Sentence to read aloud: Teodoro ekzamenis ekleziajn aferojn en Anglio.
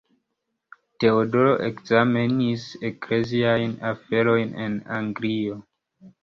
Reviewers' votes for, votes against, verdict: 1, 2, rejected